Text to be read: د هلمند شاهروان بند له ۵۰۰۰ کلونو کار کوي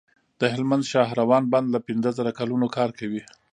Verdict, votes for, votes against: rejected, 0, 2